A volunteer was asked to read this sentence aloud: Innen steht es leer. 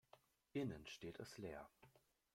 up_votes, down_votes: 0, 2